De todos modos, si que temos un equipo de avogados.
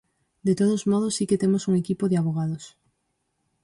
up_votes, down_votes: 4, 0